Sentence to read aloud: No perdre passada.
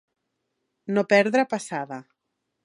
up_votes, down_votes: 2, 0